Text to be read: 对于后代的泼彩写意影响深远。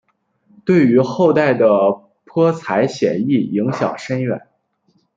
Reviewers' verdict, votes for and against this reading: accepted, 2, 1